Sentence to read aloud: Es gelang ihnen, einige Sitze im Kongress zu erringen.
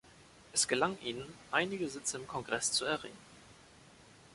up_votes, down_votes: 1, 2